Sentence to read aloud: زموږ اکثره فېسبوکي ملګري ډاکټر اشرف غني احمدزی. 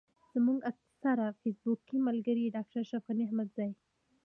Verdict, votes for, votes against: accepted, 2, 1